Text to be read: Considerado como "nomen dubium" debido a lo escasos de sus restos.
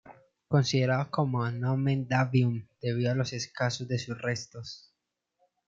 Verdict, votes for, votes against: rejected, 1, 2